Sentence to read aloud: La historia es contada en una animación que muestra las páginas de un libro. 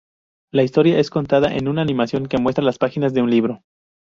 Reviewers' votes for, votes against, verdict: 2, 0, accepted